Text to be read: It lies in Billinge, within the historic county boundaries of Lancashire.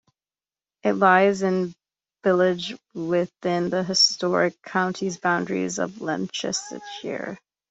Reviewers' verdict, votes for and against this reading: rejected, 0, 2